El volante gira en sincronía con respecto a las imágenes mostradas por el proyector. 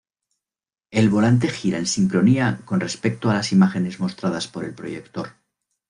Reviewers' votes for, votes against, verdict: 2, 0, accepted